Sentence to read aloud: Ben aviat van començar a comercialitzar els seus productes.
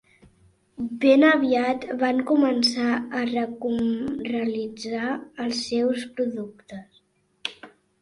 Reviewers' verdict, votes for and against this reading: rejected, 0, 2